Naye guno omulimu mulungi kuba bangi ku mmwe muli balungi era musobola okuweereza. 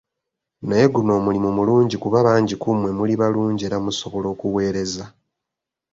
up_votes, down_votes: 2, 0